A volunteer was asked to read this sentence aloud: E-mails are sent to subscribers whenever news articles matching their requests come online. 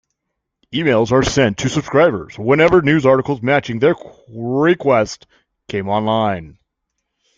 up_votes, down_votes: 0, 2